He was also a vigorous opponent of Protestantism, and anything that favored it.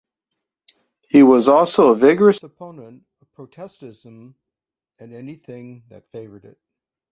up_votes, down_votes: 0, 2